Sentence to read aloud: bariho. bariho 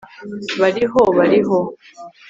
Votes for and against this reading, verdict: 2, 0, accepted